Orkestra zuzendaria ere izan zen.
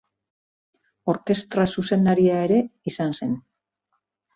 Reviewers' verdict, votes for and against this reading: accepted, 2, 0